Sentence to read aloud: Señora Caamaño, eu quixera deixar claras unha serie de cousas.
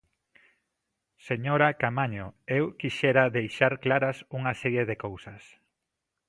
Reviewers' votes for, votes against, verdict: 2, 0, accepted